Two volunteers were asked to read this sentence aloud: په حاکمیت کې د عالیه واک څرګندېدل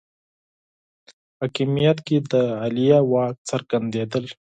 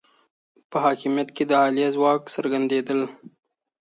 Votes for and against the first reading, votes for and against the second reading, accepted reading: 4, 0, 1, 2, first